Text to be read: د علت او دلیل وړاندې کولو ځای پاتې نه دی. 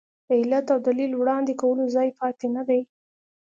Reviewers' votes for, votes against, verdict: 2, 0, accepted